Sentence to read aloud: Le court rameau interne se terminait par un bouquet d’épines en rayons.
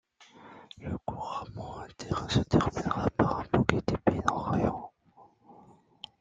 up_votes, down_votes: 1, 2